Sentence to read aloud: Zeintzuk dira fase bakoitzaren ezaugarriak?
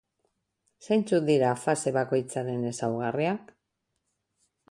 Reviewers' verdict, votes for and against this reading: rejected, 2, 2